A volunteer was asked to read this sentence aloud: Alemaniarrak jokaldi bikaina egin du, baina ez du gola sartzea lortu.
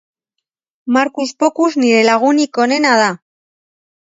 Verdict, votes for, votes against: rejected, 0, 2